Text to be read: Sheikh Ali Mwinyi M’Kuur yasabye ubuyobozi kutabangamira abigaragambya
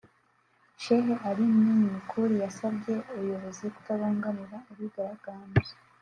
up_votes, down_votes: 2, 0